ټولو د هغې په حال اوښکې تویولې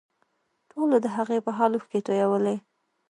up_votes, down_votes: 1, 2